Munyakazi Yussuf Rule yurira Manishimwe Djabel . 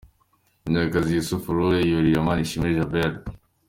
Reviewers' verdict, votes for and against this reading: accepted, 2, 0